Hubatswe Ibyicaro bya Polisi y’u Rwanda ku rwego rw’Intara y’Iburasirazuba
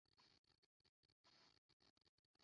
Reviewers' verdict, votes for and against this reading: rejected, 0, 2